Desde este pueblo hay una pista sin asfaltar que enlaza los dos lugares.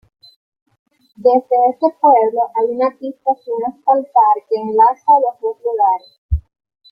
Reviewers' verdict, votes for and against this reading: rejected, 0, 2